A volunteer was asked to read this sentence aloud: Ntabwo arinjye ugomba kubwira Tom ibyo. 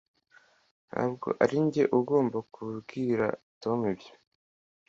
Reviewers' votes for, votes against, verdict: 2, 0, accepted